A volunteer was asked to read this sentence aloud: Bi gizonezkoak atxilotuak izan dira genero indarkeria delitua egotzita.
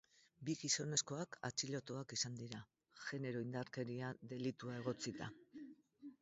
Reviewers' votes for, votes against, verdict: 2, 2, rejected